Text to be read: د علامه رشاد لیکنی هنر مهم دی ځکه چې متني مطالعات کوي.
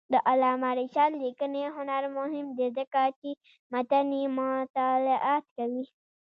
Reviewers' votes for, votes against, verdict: 2, 0, accepted